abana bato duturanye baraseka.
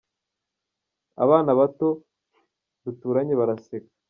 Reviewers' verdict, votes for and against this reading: accepted, 2, 0